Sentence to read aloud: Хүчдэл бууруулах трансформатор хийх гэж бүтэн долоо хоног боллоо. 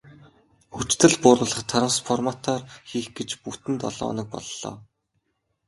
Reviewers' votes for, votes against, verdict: 8, 0, accepted